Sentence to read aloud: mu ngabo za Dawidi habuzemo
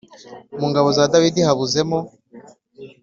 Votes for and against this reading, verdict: 2, 0, accepted